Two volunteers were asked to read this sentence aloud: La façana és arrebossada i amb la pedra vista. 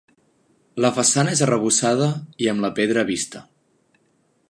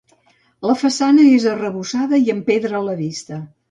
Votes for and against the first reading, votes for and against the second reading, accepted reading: 3, 0, 1, 2, first